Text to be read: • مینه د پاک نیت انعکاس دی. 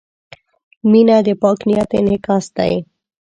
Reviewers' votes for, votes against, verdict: 1, 2, rejected